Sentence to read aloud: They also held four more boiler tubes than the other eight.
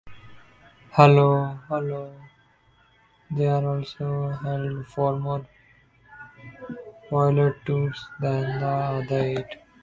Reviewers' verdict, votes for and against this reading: rejected, 0, 2